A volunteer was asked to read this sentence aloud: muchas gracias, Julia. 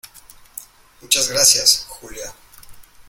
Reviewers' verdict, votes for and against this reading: accepted, 2, 0